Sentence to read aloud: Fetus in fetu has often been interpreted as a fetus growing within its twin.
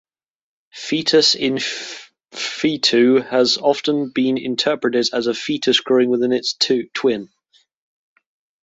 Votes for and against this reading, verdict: 1, 2, rejected